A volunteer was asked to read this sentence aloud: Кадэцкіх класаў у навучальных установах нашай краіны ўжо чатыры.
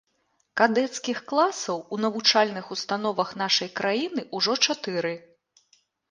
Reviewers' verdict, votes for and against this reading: accepted, 2, 0